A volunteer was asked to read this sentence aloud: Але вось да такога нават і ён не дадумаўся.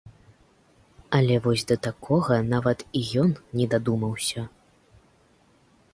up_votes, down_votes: 2, 0